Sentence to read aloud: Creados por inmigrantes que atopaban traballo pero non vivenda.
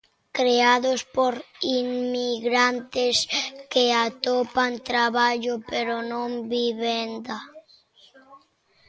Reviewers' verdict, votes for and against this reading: rejected, 0, 2